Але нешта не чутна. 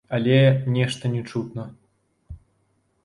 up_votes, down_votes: 2, 0